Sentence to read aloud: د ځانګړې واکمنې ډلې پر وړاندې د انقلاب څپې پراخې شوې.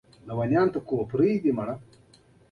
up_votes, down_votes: 1, 2